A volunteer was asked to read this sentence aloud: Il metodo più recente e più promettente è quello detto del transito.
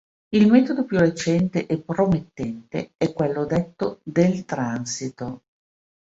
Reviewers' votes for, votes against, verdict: 1, 2, rejected